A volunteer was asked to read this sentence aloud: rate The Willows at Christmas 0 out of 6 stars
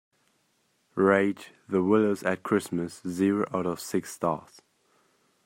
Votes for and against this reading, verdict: 0, 2, rejected